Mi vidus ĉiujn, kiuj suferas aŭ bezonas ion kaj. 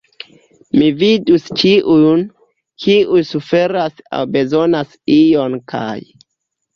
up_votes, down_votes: 1, 2